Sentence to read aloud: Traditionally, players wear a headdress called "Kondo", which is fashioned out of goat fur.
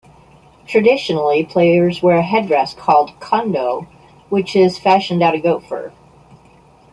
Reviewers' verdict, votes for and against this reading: rejected, 0, 2